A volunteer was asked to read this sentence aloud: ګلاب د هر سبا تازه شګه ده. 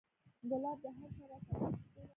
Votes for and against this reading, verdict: 0, 2, rejected